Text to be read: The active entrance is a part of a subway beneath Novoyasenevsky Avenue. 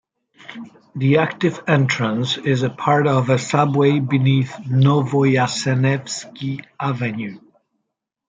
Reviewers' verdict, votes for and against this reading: accepted, 2, 0